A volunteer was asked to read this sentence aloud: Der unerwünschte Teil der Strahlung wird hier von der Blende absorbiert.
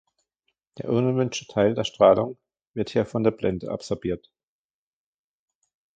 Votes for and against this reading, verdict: 2, 1, accepted